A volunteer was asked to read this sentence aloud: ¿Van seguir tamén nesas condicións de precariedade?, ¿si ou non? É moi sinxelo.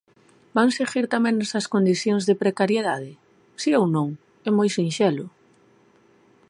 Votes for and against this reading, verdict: 2, 0, accepted